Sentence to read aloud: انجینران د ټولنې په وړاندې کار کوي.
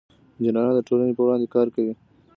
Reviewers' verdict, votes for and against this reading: accepted, 2, 0